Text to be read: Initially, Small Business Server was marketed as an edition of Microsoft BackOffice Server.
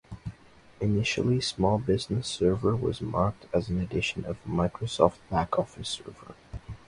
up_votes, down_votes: 0, 2